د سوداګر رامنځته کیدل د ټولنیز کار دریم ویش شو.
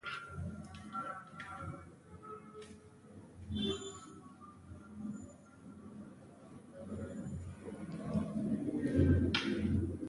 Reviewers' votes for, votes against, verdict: 0, 2, rejected